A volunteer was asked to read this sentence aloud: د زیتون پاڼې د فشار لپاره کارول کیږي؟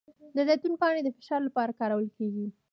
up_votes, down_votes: 2, 0